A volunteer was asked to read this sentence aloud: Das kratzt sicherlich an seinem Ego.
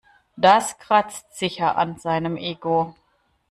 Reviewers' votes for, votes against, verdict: 0, 2, rejected